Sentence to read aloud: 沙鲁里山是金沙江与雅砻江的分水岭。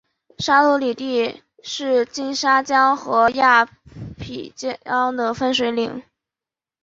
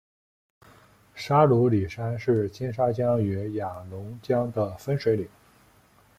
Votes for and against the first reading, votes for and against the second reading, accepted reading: 2, 3, 2, 0, second